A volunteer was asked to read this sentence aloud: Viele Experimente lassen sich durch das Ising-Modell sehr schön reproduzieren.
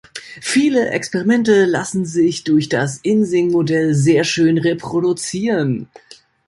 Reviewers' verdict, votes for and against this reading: rejected, 0, 2